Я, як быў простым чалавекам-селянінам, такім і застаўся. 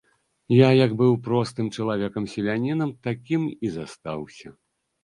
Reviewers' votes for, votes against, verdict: 2, 0, accepted